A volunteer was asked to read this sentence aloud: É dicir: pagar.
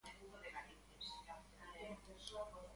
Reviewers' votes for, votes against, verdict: 0, 2, rejected